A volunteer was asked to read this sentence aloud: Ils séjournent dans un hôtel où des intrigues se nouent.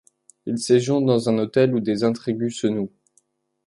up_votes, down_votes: 0, 2